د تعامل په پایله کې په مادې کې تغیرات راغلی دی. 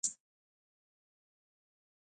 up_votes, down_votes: 1, 2